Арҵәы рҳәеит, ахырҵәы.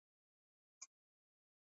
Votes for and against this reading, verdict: 1, 2, rejected